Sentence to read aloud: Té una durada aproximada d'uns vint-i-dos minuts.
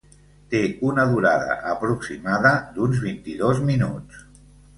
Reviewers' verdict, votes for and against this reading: accepted, 3, 0